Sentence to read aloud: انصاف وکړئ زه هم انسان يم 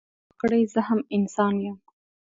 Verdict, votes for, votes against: accepted, 3, 0